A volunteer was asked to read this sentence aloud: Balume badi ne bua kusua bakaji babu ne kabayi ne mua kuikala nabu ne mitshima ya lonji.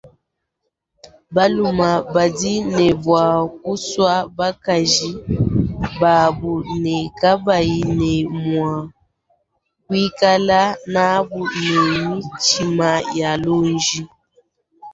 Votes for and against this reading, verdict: 2, 0, accepted